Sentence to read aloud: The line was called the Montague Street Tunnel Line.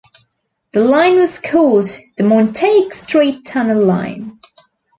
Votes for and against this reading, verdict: 1, 2, rejected